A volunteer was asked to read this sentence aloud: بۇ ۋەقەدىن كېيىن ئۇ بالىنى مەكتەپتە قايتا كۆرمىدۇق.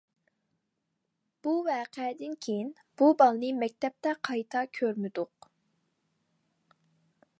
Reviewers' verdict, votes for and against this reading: rejected, 0, 2